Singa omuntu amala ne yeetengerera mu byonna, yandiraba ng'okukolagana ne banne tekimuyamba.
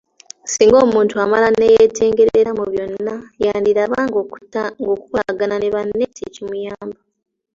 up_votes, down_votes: 2, 0